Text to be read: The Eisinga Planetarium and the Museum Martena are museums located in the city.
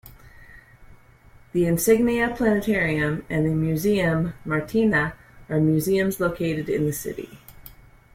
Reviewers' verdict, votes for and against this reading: rejected, 0, 2